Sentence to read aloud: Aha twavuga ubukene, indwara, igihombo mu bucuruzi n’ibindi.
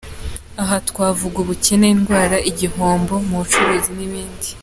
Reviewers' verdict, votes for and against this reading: accepted, 2, 0